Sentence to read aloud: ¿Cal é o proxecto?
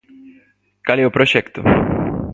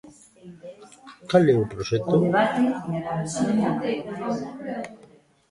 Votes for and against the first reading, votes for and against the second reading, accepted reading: 2, 0, 1, 2, first